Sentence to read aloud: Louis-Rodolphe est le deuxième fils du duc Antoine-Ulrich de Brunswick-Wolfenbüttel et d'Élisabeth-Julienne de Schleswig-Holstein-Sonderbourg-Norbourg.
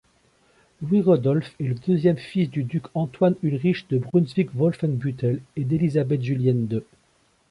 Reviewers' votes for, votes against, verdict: 0, 2, rejected